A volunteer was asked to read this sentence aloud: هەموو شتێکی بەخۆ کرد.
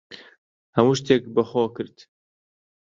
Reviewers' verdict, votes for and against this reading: rejected, 0, 2